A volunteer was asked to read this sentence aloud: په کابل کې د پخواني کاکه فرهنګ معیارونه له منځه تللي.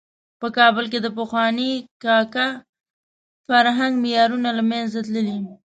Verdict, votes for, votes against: accepted, 2, 0